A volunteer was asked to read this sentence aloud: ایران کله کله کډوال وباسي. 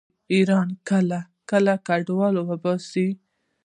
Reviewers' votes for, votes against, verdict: 2, 0, accepted